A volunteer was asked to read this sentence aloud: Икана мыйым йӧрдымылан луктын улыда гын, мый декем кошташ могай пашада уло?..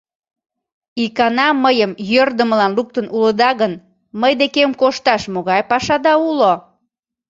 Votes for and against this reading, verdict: 2, 0, accepted